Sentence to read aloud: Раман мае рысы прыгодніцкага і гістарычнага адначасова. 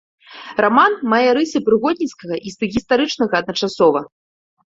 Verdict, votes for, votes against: rejected, 1, 2